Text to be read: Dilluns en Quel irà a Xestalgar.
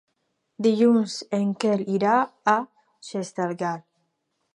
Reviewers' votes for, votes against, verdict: 6, 0, accepted